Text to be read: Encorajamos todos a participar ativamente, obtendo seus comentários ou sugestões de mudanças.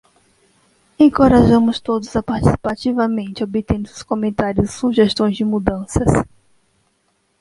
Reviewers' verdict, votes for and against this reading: rejected, 0, 2